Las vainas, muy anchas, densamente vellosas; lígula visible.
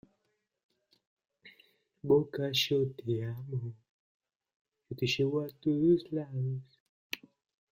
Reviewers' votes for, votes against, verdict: 0, 2, rejected